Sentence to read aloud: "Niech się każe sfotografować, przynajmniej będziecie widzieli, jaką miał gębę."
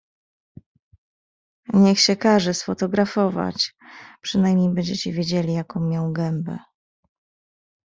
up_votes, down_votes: 1, 2